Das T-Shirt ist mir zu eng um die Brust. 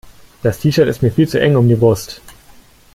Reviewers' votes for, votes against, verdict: 1, 2, rejected